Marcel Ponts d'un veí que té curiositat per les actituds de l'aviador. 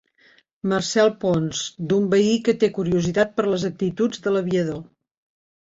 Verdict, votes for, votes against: accepted, 2, 0